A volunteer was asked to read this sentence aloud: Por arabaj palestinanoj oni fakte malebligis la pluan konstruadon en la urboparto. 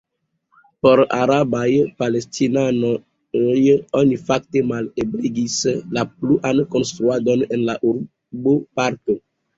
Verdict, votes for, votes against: rejected, 1, 2